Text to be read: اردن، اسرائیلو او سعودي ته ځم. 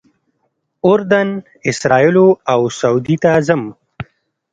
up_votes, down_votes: 0, 2